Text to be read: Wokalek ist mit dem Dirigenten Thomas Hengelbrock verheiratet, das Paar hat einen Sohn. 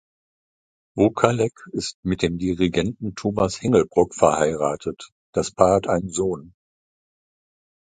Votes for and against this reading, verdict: 2, 0, accepted